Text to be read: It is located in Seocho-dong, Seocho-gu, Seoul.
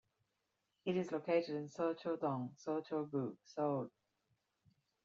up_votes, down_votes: 1, 2